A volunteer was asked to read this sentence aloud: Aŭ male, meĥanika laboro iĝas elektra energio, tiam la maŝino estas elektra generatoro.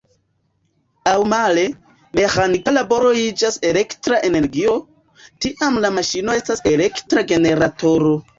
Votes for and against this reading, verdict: 2, 1, accepted